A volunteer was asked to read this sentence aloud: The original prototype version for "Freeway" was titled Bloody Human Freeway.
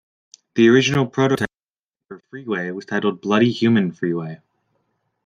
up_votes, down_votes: 1, 2